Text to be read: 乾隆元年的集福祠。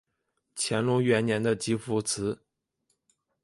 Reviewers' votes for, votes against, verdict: 1, 2, rejected